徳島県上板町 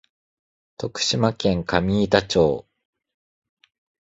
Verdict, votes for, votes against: accepted, 2, 0